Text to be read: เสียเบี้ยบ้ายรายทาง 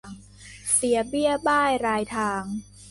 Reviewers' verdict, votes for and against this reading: accepted, 2, 0